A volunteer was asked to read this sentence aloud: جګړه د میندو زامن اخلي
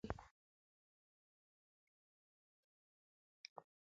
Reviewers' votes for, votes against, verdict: 0, 2, rejected